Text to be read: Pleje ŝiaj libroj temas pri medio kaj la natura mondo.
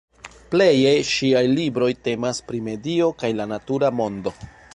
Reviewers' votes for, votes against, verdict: 2, 1, accepted